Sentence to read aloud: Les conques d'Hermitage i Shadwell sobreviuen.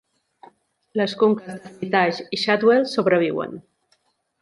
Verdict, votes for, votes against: rejected, 1, 2